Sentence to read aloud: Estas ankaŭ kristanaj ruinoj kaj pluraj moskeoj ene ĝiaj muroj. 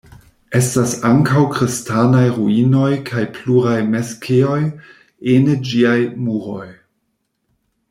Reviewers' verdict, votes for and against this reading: rejected, 0, 2